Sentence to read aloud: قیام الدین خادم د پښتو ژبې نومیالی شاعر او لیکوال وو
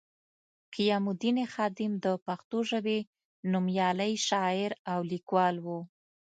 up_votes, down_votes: 2, 0